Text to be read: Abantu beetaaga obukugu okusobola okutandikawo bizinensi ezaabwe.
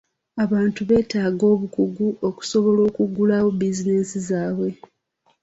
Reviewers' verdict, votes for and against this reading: rejected, 1, 3